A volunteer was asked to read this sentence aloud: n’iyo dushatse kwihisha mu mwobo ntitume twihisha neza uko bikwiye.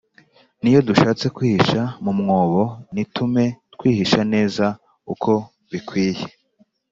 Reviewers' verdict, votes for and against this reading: accepted, 4, 0